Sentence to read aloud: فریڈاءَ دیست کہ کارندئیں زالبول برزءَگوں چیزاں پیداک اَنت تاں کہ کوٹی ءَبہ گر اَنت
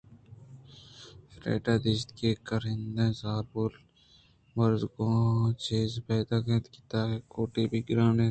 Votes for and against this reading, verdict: 1, 2, rejected